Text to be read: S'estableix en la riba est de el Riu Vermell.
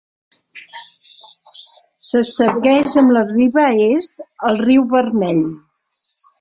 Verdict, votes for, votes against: rejected, 0, 2